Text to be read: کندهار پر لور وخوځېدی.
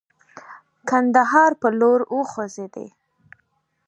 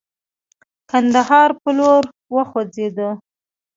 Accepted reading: first